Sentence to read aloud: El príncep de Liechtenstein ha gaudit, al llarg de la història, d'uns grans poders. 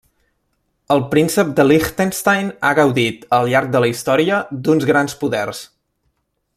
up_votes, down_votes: 1, 2